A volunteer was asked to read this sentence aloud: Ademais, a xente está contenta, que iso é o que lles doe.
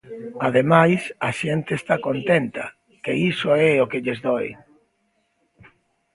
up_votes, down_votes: 1, 2